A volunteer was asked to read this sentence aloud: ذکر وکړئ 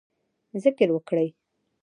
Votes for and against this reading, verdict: 2, 1, accepted